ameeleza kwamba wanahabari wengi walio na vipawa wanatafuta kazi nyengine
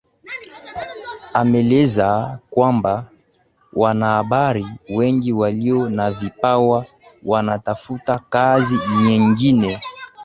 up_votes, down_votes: 2, 0